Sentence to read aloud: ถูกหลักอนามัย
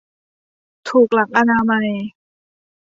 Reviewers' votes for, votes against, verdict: 2, 0, accepted